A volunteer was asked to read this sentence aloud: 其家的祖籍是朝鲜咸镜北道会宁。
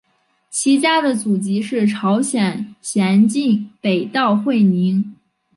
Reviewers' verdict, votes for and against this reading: accepted, 5, 0